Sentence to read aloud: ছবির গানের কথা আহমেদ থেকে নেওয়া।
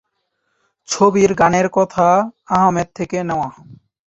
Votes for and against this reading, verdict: 2, 0, accepted